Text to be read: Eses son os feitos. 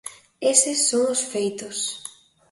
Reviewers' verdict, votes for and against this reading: accepted, 2, 0